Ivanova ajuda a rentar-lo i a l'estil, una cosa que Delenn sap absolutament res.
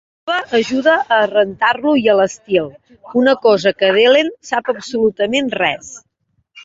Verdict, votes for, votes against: rejected, 1, 2